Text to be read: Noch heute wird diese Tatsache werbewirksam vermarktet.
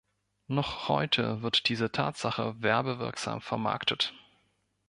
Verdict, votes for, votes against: accepted, 3, 0